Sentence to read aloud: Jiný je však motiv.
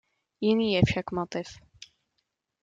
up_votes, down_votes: 2, 0